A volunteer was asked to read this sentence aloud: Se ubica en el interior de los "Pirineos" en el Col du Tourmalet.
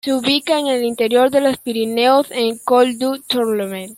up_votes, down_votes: 1, 2